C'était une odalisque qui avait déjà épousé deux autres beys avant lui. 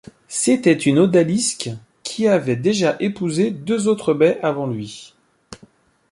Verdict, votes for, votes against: accepted, 2, 0